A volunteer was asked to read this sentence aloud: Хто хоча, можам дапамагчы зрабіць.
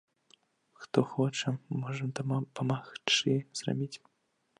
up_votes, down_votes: 1, 2